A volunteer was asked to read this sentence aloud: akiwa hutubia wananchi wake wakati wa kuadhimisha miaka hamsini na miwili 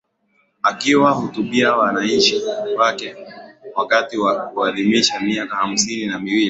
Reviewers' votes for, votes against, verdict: 2, 0, accepted